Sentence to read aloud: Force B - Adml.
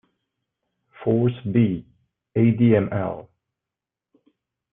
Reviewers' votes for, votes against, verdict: 1, 2, rejected